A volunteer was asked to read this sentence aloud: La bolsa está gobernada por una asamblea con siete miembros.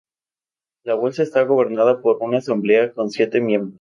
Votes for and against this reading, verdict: 0, 2, rejected